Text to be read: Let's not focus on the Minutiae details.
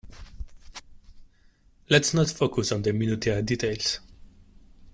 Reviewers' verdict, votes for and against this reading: rejected, 1, 2